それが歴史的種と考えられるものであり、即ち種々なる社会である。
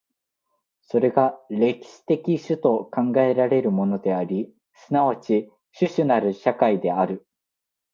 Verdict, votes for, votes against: accepted, 2, 1